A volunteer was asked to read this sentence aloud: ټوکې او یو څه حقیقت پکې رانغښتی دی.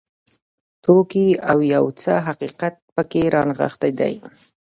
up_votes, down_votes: 0, 2